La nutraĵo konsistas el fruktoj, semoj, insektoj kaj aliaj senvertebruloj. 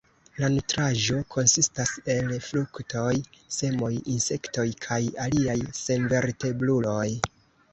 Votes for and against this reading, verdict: 1, 2, rejected